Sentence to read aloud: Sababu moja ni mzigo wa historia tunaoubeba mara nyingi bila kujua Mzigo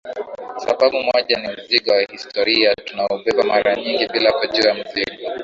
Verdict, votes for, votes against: accepted, 6, 2